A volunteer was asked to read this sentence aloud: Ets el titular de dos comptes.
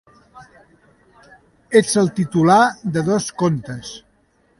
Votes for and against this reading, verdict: 2, 0, accepted